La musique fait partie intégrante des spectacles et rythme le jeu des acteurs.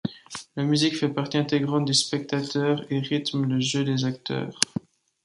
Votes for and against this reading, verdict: 0, 2, rejected